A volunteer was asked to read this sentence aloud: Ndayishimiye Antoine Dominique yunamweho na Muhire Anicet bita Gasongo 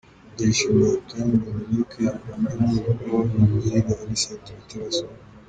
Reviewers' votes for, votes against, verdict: 1, 3, rejected